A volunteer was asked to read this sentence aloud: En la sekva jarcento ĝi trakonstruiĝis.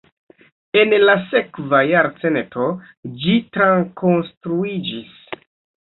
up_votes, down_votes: 1, 2